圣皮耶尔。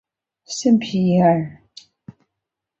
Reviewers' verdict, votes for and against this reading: accepted, 3, 1